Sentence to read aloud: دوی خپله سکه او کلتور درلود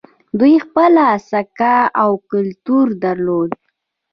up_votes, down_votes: 1, 2